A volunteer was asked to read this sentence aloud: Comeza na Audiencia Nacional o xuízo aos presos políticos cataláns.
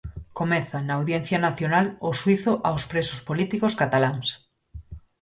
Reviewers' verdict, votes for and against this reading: accepted, 4, 0